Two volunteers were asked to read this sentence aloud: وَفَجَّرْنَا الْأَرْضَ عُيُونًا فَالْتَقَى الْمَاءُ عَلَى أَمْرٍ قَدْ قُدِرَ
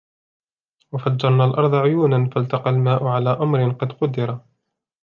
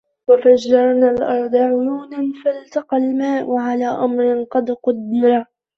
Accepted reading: first